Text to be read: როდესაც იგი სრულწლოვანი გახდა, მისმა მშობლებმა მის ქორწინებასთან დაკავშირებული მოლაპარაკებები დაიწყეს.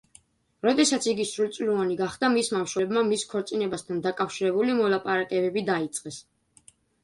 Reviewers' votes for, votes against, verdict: 2, 0, accepted